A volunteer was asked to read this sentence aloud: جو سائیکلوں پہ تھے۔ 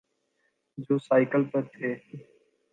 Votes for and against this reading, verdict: 1, 2, rejected